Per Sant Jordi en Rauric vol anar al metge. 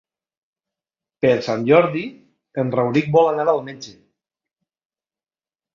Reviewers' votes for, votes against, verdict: 3, 1, accepted